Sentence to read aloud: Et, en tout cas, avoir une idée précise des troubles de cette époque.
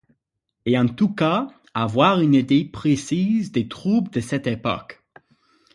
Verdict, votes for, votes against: accepted, 6, 0